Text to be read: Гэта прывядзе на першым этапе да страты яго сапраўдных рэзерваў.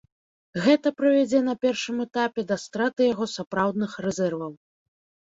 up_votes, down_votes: 2, 0